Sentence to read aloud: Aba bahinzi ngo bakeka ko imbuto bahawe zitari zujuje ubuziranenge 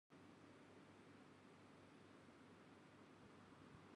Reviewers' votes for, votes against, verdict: 0, 2, rejected